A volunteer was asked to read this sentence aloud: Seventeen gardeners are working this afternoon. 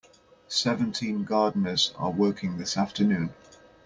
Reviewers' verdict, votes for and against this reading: accepted, 2, 0